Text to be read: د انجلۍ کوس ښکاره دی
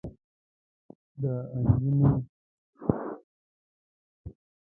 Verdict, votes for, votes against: rejected, 0, 2